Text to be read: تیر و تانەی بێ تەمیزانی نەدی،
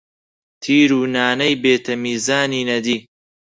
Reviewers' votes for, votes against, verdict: 0, 4, rejected